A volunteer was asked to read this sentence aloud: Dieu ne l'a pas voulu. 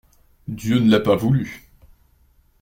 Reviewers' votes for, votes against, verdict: 2, 0, accepted